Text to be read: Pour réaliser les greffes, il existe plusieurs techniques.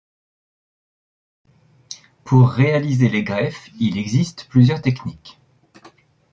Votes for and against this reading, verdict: 2, 0, accepted